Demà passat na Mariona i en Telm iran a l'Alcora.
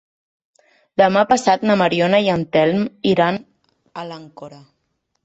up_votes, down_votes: 2, 3